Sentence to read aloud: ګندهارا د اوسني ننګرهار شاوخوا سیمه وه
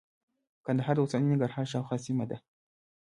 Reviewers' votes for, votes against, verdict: 1, 2, rejected